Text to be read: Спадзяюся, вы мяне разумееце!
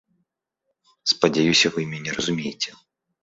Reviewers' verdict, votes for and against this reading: accepted, 2, 0